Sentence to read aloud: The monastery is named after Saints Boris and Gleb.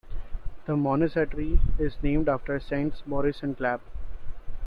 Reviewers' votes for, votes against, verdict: 1, 2, rejected